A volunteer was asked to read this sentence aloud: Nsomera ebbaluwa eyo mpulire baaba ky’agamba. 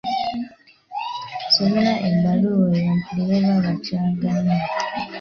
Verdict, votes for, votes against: rejected, 1, 2